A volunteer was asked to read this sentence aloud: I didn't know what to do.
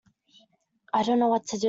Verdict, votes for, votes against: rejected, 1, 2